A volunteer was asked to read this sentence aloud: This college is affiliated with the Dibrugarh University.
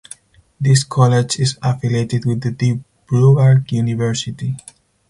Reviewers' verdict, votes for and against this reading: rejected, 2, 2